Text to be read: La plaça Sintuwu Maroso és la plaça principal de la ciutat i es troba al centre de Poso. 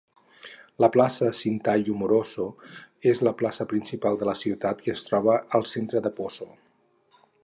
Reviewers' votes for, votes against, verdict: 0, 2, rejected